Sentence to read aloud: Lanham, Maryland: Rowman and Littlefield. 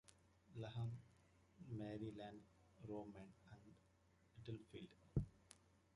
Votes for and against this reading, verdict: 0, 2, rejected